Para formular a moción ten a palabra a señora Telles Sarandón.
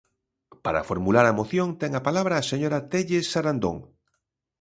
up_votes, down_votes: 2, 0